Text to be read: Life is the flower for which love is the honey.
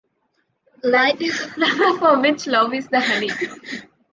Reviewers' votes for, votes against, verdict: 1, 2, rejected